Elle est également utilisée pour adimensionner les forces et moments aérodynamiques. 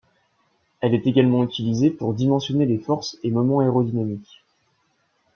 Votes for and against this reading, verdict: 1, 2, rejected